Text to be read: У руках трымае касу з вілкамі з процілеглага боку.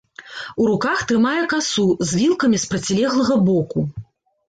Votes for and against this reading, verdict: 2, 0, accepted